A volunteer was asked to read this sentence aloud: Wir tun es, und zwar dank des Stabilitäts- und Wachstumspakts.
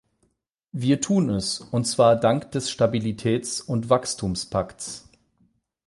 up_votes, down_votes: 8, 0